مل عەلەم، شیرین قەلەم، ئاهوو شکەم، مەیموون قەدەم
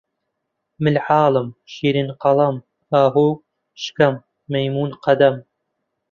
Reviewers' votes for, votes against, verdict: 0, 2, rejected